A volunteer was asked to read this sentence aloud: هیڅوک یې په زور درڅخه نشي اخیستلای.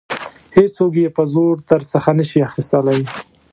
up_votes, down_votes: 1, 2